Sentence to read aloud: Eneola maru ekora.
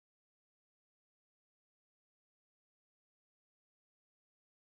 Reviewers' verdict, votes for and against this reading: rejected, 1, 2